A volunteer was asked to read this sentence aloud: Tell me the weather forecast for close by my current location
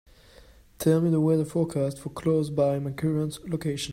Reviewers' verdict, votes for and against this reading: accepted, 2, 1